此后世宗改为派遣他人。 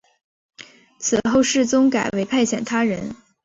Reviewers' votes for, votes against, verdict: 1, 2, rejected